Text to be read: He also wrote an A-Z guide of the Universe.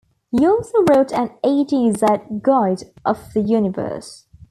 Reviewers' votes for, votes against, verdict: 2, 0, accepted